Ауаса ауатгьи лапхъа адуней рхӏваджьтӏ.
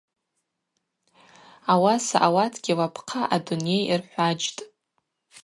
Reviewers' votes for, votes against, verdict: 2, 0, accepted